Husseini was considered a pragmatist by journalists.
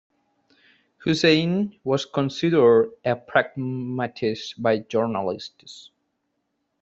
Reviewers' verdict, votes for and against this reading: rejected, 0, 2